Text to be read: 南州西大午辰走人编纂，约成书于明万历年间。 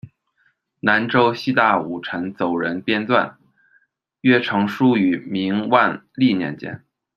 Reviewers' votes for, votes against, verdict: 2, 0, accepted